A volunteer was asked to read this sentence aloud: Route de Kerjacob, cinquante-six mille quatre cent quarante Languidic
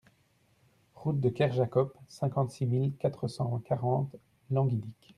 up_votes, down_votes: 1, 2